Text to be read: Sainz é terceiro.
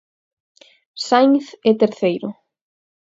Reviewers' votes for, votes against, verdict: 4, 0, accepted